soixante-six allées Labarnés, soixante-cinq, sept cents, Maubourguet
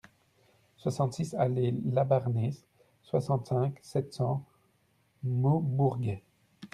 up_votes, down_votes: 2, 0